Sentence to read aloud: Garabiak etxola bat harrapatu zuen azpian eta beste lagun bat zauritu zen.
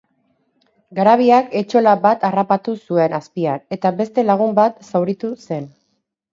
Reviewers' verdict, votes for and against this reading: rejected, 0, 2